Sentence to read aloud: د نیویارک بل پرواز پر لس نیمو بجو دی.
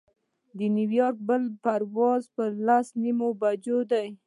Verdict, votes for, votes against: accepted, 2, 0